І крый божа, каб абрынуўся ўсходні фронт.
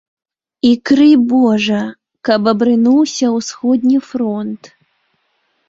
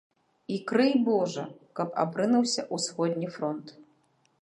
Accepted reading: second